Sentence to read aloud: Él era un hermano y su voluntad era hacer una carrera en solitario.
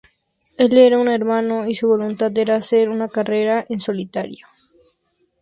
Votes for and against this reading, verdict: 2, 0, accepted